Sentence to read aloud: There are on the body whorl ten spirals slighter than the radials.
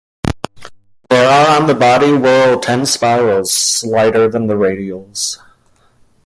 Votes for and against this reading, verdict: 1, 2, rejected